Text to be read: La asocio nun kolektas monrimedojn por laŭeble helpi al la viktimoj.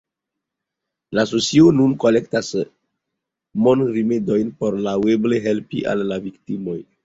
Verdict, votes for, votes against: rejected, 0, 2